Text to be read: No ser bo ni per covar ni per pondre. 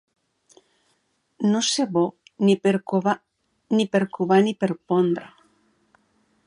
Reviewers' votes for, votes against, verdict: 2, 4, rejected